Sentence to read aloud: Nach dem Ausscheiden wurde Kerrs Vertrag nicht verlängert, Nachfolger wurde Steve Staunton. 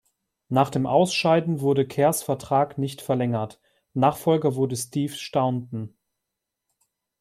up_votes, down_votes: 2, 0